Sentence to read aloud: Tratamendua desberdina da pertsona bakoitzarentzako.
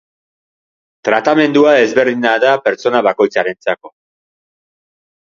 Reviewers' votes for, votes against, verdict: 2, 0, accepted